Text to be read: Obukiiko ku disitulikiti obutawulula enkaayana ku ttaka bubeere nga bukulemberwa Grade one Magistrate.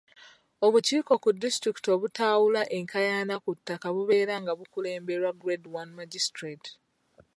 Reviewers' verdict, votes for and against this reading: rejected, 1, 2